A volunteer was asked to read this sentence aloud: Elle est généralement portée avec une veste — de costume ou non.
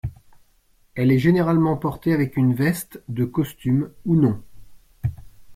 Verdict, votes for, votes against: accepted, 2, 0